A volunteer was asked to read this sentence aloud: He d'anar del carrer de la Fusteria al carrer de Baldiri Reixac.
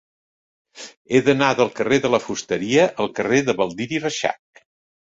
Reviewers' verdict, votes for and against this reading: accepted, 2, 0